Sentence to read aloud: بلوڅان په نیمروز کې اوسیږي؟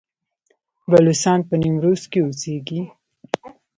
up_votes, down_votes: 1, 2